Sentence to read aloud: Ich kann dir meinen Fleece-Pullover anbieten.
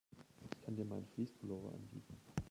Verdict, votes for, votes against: rejected, 1, 2